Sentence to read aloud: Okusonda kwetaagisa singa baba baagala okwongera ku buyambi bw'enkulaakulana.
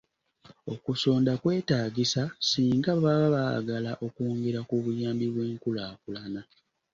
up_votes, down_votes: 2, 0